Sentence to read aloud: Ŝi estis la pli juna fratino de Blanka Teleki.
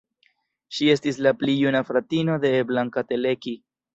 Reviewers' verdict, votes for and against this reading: accepted, 2, 0